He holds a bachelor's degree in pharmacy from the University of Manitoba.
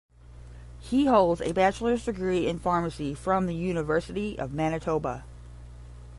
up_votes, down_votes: 10, 0